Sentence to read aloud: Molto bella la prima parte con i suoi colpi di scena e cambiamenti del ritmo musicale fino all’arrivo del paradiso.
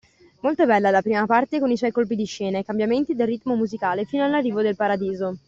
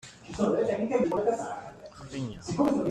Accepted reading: first